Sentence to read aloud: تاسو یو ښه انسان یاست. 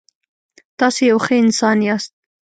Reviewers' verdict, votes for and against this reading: accepted, 2, 0